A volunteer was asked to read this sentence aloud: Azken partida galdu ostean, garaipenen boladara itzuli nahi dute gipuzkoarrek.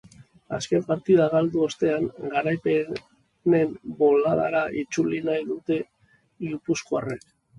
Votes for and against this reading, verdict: 1, 2, rejected